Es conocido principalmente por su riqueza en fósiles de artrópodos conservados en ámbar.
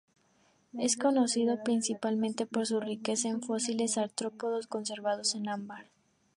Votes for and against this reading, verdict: 0, 2, rejected